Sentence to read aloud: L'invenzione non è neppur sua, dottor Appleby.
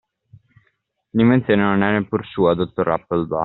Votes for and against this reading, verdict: 0, 2, rejected